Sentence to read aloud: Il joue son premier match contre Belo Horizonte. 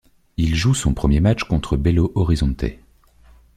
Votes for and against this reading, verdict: 2, 0, accepted